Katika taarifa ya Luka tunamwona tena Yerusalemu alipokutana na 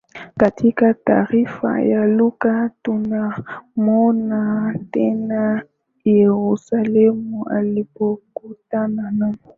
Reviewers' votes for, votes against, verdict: 9, 4, accepted